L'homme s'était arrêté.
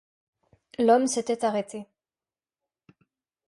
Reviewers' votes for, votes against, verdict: 2, 0, accepted